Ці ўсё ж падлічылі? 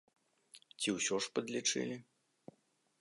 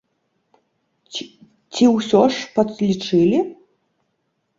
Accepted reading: first